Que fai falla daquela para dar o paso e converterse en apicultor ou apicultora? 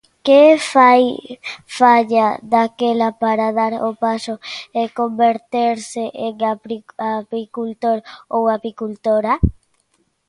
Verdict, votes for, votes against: rejected, 0, 2